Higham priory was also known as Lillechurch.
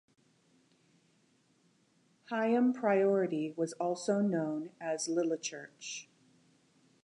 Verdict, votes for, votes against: rejected, 0, 2